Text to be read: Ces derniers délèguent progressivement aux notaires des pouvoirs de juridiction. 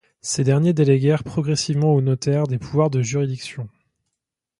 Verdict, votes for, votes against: rejected, 0, 2